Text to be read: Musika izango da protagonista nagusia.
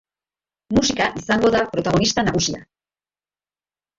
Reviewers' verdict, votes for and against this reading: rejected, 0, 2